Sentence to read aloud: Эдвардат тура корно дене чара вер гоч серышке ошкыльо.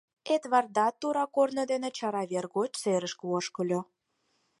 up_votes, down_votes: 4, 0